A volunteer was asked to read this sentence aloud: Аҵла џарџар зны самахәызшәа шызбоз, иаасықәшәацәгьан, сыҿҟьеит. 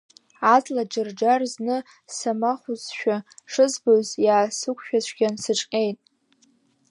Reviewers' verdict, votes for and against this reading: rejected, 0, 2